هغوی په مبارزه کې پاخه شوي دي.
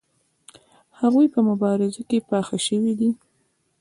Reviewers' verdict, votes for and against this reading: accepted, 2, 0